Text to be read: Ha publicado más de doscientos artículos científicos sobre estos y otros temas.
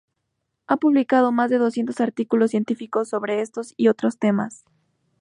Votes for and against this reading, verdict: 2, 0, accepted